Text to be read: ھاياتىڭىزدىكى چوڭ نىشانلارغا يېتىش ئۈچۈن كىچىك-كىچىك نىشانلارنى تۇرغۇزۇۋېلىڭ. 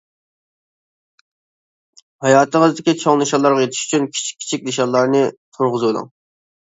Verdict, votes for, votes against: accepted, 2, 0